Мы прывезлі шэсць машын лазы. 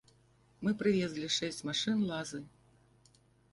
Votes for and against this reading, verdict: 0, 2, rejected